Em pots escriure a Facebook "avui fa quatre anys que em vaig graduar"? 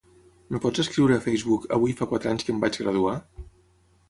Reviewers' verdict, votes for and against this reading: rejected, 0, 6